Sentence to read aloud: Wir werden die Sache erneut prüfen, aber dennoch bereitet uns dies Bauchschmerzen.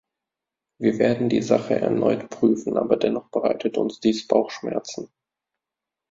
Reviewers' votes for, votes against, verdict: 2, 0, accepted